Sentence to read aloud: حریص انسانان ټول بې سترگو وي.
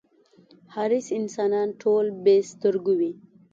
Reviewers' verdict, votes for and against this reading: accepted, 2, 0